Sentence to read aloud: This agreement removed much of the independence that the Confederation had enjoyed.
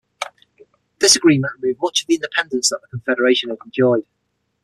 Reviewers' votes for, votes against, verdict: 3, 6, rejected